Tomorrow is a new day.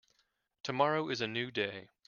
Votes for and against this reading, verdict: 0, 2, rejected